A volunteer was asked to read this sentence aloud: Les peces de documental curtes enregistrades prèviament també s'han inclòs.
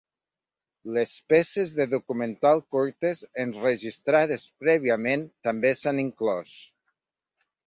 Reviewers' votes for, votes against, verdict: 3, 0, accepted